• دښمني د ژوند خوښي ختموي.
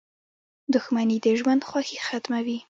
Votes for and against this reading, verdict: 2, 0, accepted